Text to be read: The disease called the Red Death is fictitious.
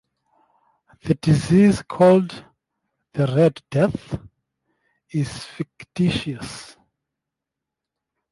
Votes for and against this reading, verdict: 2, 0, accepted